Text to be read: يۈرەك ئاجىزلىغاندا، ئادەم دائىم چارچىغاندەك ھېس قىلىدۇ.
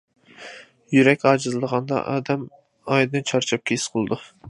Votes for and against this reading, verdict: 0, 2, rejected